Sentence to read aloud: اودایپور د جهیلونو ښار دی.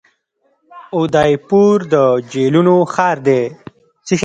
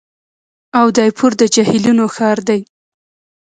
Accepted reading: second